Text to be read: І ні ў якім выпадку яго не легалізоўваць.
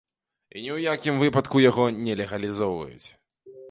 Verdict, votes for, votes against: rejected, 0, 2